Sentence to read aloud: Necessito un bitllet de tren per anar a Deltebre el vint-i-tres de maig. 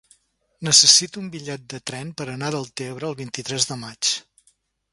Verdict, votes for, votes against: accepted, 4, 0